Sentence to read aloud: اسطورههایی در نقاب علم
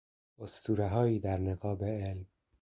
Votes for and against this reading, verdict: 2, 1, accepted